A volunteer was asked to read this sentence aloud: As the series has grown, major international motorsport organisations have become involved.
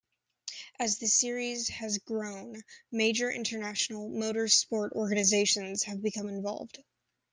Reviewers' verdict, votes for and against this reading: rejected, 1, 2